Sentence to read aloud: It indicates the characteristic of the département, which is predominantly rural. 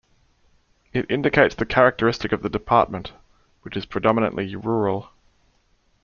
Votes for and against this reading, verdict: 2, 0, accepted